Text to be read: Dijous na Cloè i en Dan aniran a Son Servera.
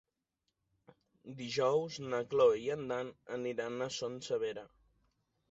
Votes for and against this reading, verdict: 0, 2, rejected